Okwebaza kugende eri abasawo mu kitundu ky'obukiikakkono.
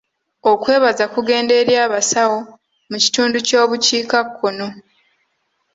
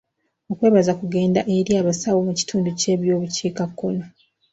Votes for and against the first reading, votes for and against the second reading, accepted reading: 2, 0, 0, 2, first